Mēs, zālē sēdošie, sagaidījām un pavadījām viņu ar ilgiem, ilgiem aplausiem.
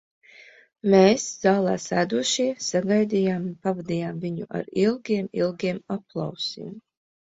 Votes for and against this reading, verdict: 2, 0, accepted